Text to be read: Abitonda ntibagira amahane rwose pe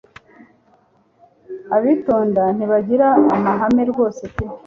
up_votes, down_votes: 0, 2